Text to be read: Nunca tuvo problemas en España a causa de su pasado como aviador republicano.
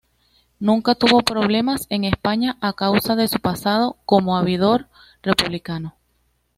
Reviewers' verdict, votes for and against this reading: rejected, 1, 2